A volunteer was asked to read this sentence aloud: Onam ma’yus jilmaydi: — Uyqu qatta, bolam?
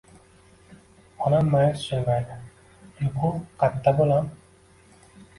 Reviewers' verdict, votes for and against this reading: rejected, 1, 2